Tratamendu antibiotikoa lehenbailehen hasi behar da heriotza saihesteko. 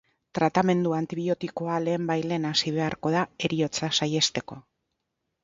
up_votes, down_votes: 0, 4